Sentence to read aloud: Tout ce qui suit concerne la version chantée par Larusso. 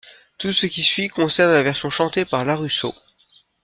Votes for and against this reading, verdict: 2, 0, accepted